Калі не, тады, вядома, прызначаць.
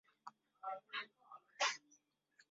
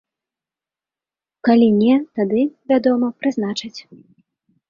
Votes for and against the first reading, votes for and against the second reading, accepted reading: 0, 2, 2, 0, second